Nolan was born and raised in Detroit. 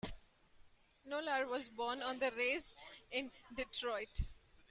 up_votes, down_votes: 2, 1